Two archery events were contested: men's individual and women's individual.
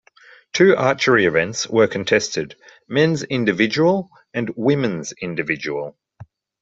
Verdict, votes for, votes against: accepted, 2, 0